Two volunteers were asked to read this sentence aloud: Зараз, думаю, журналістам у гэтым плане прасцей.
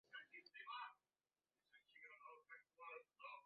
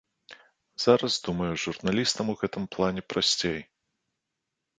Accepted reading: second